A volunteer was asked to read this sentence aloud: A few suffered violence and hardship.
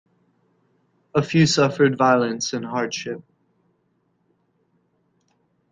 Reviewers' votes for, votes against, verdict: 2, 0, accepted